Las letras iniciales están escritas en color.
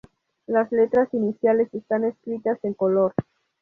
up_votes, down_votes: 2, 0